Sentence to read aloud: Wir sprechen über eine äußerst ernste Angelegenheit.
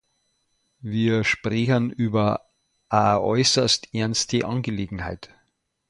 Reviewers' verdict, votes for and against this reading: rejected, 0, 2